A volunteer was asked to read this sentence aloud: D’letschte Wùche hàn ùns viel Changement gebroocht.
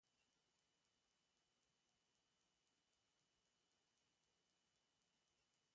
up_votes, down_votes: 0, 2